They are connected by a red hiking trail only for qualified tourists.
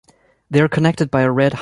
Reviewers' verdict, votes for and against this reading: rejected, 0, 2